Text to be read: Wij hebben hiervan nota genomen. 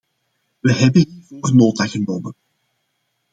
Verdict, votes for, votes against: rejected, 0, 2